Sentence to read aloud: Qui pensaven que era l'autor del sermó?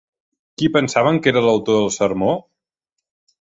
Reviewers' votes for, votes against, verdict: 3, 0, accepted